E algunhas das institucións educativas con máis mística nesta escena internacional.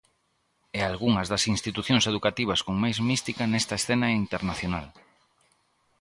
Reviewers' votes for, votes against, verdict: 2, 0, accepted